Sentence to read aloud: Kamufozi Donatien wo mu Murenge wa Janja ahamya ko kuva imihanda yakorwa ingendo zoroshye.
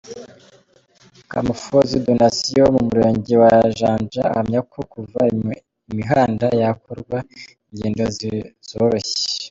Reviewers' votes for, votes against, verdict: 0, 3, rejected